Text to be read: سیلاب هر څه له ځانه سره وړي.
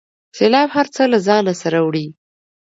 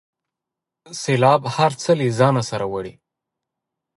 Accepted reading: first